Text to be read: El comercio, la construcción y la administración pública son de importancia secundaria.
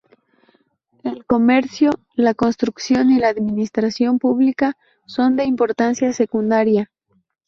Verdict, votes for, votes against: rejected, 2, 2